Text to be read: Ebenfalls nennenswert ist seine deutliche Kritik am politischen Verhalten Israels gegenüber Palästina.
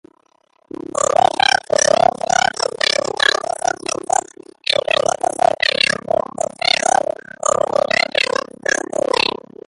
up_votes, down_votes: 0, 2